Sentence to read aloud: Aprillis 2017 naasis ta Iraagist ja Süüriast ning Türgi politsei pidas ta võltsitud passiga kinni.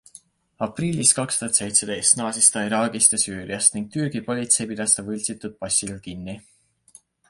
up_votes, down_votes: 0, 2